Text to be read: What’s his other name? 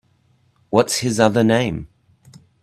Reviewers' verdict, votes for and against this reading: accepted, 2, 0